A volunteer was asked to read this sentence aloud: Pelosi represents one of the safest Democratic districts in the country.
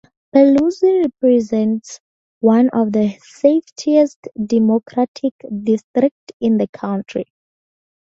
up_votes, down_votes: 0, 2